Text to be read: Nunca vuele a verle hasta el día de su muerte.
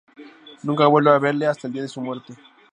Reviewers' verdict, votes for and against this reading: rejected, 2, 2